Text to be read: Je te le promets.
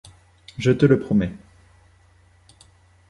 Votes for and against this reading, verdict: 2, 0, accepted